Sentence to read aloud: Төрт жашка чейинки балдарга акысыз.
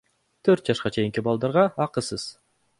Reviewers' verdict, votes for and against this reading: accepted, 2, 0